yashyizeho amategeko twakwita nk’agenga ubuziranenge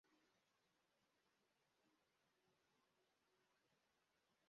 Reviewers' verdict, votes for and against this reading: rejected, 0, 2